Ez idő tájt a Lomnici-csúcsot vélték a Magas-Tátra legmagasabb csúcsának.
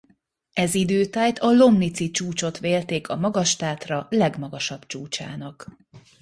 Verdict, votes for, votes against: accepted, 2, 0